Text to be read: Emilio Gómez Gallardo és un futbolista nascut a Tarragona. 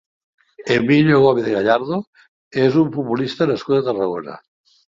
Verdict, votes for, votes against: accepted, 2, 0